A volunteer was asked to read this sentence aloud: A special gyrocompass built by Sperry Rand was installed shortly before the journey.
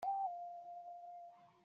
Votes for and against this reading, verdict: 0, 2, rejected